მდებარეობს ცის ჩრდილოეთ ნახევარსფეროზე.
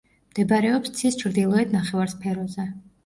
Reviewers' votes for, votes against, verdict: 0, 2, rejected